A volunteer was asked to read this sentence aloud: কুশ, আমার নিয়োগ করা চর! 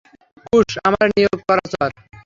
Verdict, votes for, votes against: rejected, 0, 3